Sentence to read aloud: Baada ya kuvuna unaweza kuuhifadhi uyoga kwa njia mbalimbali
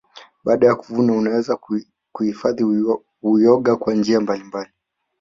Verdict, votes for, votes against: rejected, 1, 2